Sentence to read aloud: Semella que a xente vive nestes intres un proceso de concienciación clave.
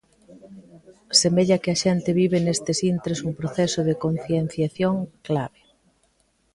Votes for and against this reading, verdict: 2, 0, accepted